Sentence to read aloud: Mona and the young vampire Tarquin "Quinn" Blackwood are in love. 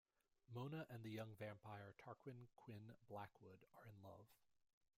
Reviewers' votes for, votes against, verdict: 2, 1, accepted